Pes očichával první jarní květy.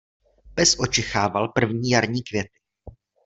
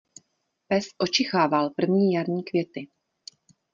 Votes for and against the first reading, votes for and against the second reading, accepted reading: 0, 2, 2, 0, second